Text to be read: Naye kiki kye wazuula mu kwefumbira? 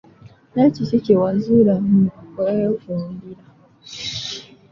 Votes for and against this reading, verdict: 2, 1, accepted